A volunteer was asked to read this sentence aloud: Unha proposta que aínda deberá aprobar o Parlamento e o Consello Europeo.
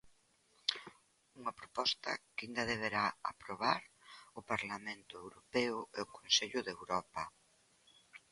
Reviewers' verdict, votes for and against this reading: rejected, 1, 2